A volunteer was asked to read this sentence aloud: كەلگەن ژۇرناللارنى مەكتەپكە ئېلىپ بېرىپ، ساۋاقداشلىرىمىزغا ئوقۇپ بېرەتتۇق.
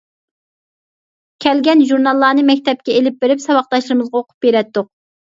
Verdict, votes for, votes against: accepted, 2, 0